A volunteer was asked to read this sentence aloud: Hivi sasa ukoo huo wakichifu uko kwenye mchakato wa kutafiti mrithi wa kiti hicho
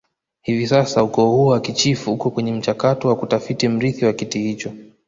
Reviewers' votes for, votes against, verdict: 0, 2, rejected